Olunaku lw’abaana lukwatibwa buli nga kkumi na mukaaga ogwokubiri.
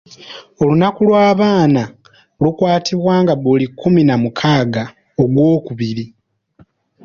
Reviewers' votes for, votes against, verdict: 0, 2, rejected